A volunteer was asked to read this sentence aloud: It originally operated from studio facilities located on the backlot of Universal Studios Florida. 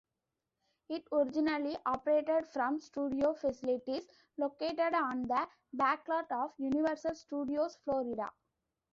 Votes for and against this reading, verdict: 0, 2, rejected